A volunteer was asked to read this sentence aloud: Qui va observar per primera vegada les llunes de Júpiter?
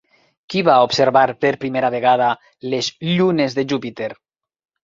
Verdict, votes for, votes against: accepted, 4, 0